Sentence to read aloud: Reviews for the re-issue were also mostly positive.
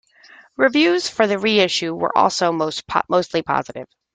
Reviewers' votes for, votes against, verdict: 0, 2, rejected